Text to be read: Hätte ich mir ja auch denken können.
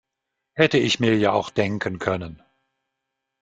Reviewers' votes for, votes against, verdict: 2, 0, accepted